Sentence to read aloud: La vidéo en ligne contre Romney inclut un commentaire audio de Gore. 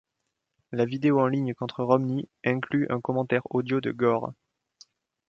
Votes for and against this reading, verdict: 1, 2, rejected